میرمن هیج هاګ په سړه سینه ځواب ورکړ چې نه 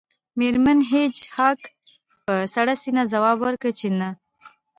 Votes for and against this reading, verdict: 2, 0, accepted